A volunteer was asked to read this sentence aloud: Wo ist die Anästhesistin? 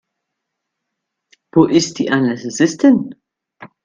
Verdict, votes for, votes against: accepted, 2, 0